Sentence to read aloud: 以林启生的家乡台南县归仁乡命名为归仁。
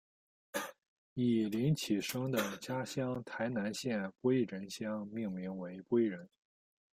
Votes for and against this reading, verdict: 1, 2, rejected